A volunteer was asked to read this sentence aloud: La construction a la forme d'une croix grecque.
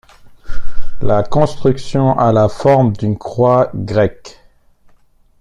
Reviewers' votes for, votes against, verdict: 1, 2, rejected